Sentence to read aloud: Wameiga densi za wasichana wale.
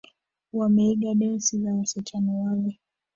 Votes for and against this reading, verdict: 0, 2, rejected